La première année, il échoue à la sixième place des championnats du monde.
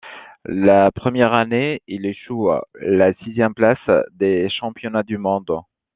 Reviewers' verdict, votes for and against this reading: accepted, 2, 0